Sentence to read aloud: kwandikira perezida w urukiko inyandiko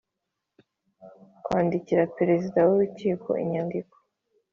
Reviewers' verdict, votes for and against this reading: accepted, 3, 0